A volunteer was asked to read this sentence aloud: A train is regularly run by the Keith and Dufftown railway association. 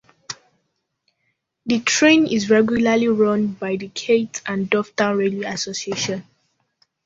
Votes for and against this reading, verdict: 0, 2, rejected